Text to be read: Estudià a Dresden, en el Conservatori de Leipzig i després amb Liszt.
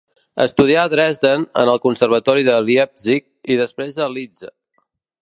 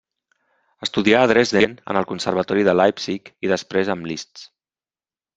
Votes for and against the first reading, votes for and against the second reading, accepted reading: 1, 2, 3, 0, second